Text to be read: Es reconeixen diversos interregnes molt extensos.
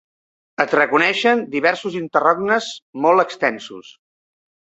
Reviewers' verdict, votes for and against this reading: rejected, 0, 3